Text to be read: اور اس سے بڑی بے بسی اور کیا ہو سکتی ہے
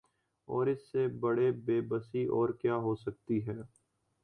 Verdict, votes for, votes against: accepted, 3, 0